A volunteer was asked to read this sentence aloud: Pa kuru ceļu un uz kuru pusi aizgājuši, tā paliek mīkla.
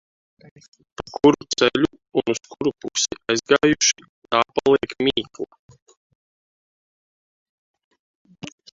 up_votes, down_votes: 1, 2